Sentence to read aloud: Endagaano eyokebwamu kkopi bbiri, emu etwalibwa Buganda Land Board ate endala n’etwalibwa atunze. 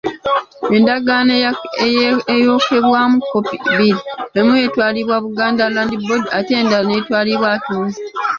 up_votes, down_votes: 1, 2